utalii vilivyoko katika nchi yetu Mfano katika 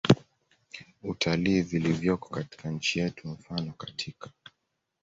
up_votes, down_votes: 2, 0